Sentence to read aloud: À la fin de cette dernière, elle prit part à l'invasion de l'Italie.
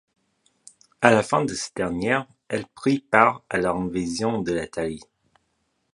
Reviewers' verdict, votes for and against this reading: accepted, 2, 0